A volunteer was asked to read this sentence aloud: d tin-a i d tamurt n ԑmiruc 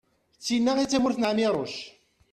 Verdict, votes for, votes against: accepted, 2, 0